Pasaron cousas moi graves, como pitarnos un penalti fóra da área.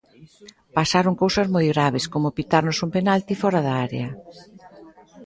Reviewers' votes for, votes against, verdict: 2, 3, rejected